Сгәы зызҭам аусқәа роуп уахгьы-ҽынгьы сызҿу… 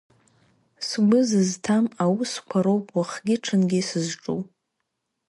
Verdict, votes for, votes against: rejected, 1, 2